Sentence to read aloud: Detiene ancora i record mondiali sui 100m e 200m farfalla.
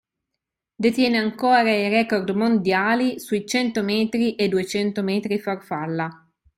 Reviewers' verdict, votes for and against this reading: rejected, 0, 2